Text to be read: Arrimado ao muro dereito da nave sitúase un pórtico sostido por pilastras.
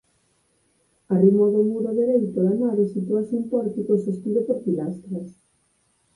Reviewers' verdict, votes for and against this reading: accepted, 4, 0